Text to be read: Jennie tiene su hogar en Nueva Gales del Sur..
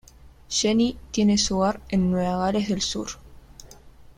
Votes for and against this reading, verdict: 2, 1, accepted